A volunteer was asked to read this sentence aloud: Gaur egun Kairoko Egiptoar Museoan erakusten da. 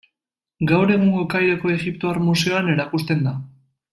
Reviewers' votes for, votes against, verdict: 1, 2, rejected